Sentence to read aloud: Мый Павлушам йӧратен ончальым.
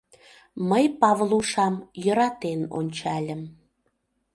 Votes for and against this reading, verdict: 2, 0, accepted